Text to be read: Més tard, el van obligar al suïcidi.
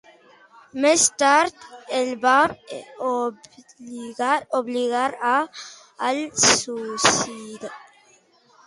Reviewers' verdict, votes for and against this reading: rejected, 0, 2